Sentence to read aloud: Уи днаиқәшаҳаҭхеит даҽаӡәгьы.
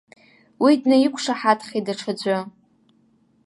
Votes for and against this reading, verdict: 1, 2, rejected